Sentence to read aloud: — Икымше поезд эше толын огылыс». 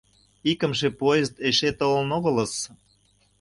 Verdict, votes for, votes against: accepted, 2, 0